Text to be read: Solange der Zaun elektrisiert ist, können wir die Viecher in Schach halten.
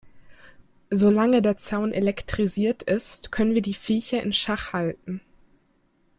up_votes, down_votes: 2, 0